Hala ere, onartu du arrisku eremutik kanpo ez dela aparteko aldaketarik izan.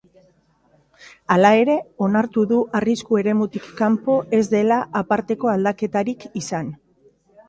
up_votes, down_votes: 2, 0